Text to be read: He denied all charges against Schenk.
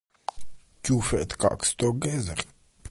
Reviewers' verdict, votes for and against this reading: rejected, 0, 2